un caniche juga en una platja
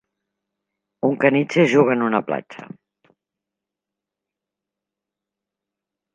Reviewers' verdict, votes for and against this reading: accepted, 2, 0